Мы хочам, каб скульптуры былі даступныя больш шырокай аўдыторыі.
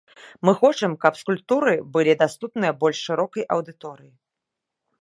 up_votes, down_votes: 2, 0